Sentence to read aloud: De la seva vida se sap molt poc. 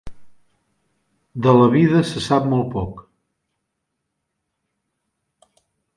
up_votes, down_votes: 2, 3